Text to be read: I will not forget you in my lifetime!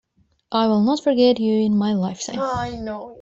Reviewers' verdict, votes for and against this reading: rejected, 1, 2